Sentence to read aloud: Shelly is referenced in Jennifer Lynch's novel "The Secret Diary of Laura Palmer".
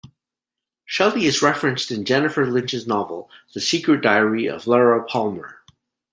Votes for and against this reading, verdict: 2, 0, accepted